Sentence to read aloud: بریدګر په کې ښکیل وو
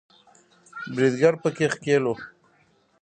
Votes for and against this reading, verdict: 1, 2, rejected